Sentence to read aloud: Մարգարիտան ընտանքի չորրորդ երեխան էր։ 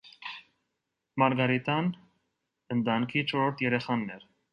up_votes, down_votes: 1, 2